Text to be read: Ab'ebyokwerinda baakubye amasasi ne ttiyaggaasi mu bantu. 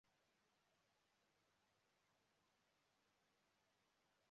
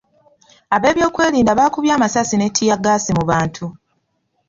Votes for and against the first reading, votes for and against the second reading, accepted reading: 0, 3, 2, 0, second